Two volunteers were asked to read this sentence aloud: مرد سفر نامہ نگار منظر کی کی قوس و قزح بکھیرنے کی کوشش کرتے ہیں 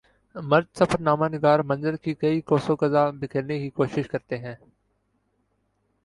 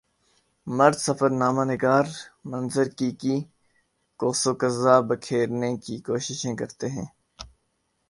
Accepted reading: first